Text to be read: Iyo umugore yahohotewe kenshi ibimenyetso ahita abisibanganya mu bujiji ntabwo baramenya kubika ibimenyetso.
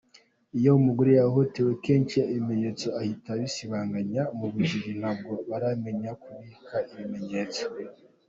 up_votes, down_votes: 2, 1